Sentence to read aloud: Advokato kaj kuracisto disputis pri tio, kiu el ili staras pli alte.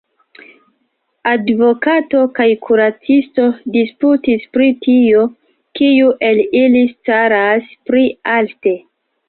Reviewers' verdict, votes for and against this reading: accepted, 2, 0